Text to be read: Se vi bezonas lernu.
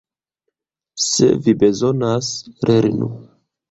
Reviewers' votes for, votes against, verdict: 2, 1, accepted